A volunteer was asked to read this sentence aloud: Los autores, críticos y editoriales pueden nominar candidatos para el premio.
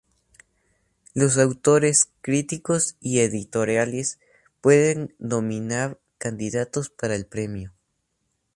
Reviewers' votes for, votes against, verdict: 2, 0, accepted